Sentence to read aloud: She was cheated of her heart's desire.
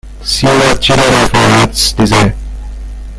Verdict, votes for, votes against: rejected, 0, 2